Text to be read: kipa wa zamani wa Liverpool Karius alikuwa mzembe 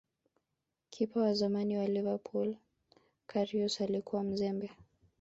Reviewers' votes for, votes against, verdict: 3, 4, rejected